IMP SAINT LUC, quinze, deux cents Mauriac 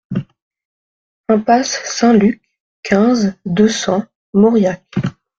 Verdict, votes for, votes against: rejected, 0, 2